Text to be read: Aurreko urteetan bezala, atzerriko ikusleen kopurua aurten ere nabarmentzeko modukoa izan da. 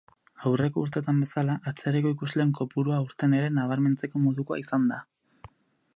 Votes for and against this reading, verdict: 4, 0, accepted